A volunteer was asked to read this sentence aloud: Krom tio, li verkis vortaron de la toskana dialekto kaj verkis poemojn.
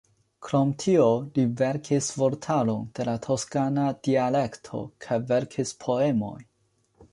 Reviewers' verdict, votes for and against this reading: accepted, 2, 0